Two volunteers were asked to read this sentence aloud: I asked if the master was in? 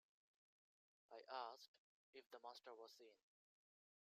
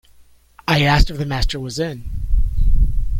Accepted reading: second